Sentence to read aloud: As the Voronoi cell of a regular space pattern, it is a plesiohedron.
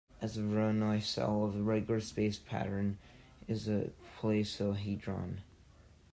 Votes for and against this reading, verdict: 1, 2, rejected